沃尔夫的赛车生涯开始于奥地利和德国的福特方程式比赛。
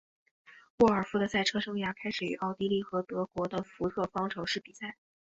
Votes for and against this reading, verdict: 4, 1, accepted